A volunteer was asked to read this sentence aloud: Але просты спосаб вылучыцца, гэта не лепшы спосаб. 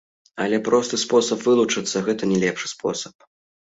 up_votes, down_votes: 2, 0